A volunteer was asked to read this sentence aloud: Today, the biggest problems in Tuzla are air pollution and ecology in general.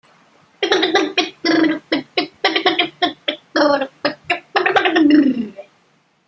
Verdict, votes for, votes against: rejected, 0, 2